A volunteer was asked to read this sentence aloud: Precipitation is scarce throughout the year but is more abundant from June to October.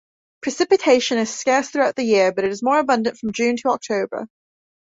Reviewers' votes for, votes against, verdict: 2, 0, accepted